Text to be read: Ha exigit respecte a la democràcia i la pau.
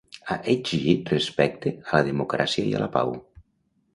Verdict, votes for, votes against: rejected, 0, 2